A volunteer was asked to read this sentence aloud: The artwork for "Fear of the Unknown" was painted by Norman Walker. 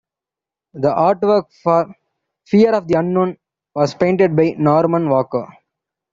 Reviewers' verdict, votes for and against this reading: accepted, 2, 0